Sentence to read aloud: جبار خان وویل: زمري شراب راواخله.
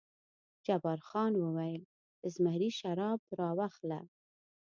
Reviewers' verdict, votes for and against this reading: accepted, 2, 0